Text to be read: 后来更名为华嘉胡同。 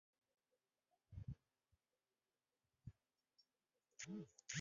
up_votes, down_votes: 2, 4